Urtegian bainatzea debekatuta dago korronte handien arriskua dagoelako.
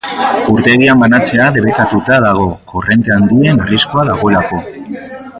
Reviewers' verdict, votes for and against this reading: rejected, 0, 2